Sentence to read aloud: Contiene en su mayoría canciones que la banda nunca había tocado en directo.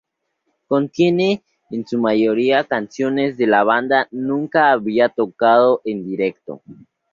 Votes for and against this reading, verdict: 2, 0, accepted